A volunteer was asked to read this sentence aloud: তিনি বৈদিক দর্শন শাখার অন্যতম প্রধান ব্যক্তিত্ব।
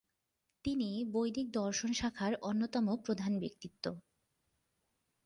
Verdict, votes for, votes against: accepted, 3, 0